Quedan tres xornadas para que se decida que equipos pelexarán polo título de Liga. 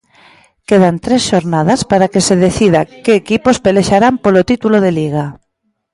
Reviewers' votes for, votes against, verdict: 2, 0, accepted